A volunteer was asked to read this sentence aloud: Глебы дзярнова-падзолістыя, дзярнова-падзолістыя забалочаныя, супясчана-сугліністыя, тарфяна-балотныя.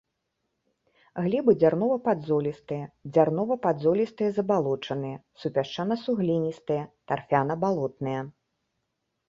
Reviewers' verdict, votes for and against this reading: accepted, 2, 0